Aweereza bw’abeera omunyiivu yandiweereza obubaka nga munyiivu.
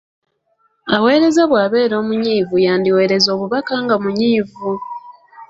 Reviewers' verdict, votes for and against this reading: accepted, 2, 0